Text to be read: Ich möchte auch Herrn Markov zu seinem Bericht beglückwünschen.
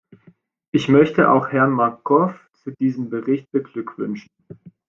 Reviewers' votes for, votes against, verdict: 0, 2, rejected